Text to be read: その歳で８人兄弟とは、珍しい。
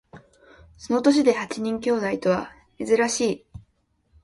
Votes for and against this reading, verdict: 0, 2, rejected